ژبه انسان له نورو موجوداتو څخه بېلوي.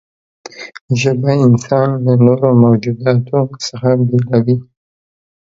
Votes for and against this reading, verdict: 2, 0, accepted